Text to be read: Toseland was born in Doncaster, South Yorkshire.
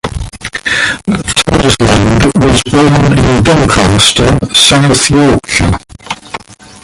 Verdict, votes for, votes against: rejected, 0, 2